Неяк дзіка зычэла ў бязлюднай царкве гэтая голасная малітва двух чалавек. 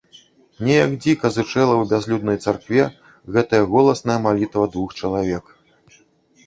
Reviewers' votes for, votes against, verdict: 1, 2, rejected